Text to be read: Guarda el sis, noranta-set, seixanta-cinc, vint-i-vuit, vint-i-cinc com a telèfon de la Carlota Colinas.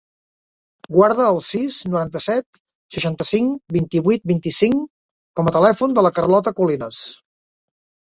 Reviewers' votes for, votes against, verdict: 2, 0, accepted